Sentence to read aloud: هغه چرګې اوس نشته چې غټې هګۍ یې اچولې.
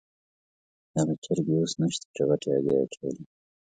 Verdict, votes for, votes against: accepted, 2, 0